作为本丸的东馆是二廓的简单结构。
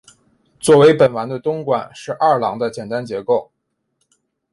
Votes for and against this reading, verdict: 2, 0, accepted